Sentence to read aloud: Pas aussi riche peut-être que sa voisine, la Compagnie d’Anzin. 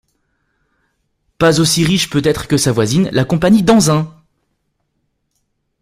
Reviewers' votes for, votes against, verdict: 2, 0, accepted